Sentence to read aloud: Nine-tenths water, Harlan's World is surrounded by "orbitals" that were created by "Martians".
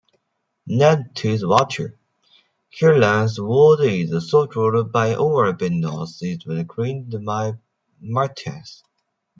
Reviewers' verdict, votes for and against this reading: rejected, 0, 2